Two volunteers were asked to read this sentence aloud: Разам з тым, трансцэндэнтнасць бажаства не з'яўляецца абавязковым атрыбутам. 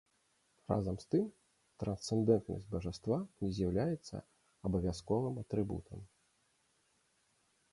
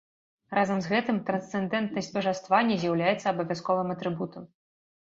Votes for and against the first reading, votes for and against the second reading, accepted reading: 2, 0, 0, 2, first